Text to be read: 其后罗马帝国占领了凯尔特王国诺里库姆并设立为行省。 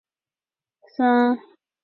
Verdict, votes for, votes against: rejected, 0, 2